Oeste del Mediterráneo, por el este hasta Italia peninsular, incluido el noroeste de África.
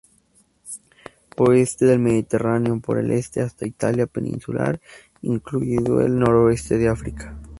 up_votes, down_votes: 2, 0